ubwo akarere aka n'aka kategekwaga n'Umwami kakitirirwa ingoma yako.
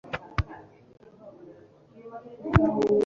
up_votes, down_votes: 1, 2